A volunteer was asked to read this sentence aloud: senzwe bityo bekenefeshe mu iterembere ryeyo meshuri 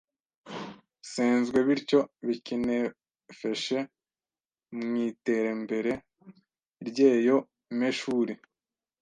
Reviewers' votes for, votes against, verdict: 1, 2, rejected